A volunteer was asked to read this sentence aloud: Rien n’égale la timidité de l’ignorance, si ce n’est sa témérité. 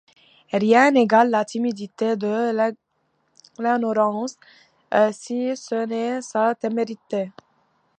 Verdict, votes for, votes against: rejected, 0, 2